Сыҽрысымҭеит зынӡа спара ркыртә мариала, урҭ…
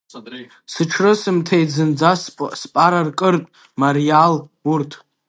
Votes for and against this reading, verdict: 1, 2, rejected